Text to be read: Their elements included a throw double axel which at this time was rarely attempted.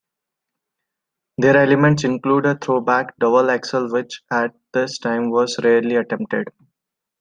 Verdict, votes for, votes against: accepted, 2, 1